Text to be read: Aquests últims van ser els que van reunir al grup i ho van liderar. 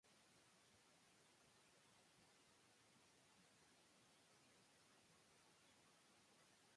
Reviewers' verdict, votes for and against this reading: rejected, 0, 2